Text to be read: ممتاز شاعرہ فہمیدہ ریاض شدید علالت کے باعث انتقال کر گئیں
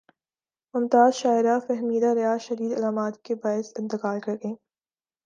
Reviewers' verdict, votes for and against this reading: accepted, 2, 0